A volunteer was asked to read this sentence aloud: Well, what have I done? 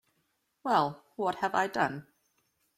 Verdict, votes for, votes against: accepted, 2, 0